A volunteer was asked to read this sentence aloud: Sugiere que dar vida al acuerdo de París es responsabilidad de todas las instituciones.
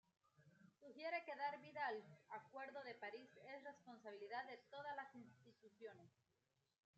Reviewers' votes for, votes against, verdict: 2, 0, accepted